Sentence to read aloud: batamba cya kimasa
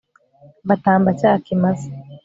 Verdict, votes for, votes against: rejected, 1, 2